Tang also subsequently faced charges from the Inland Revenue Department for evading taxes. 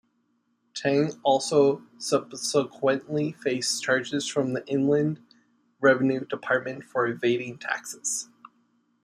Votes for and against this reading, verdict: 2, 0, accepted